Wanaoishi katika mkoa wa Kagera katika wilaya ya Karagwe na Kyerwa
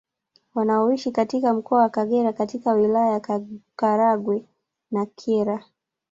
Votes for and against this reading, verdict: 2, 3, rejected